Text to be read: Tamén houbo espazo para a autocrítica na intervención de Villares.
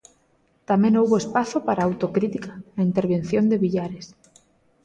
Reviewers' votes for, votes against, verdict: 2, 0, accepted